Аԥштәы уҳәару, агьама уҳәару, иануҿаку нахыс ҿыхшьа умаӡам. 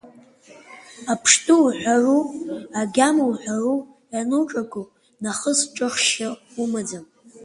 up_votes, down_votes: 2, 0